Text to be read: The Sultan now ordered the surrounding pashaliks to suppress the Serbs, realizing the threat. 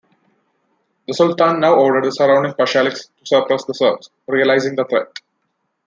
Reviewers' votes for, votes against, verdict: 2, 1, accepted